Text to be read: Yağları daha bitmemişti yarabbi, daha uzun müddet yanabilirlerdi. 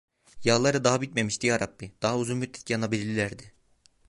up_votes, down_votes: 1, 2